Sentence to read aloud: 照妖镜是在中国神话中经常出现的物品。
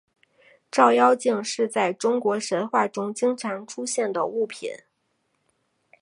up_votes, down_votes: 8, 0